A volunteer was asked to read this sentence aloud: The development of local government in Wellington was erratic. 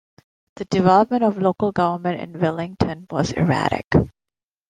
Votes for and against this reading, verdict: 1, 2, rejected